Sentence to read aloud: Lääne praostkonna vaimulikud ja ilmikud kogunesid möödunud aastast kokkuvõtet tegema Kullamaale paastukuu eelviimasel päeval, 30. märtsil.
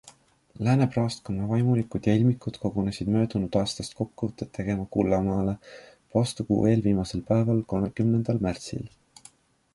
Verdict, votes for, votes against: rejected, 0, 2